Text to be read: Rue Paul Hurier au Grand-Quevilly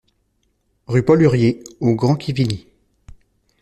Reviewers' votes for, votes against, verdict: 1, 2, rejected